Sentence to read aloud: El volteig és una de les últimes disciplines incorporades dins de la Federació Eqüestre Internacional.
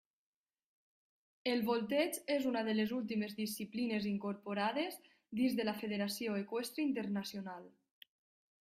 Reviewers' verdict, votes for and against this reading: rejected, 0, 2